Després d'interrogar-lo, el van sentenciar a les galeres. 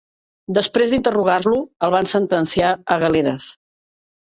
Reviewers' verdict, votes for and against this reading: rejected, 1, 2